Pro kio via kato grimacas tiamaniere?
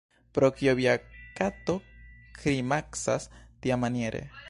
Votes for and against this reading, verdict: 1, 2, rejected